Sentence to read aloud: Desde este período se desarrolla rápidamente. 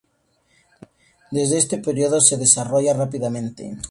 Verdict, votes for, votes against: accepted, 2, 0